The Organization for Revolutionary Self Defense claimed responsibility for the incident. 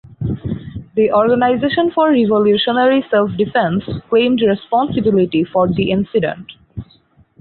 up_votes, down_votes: 2, 2